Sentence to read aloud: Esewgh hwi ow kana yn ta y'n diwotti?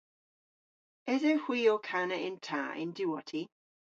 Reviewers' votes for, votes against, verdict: 1, 2, rejected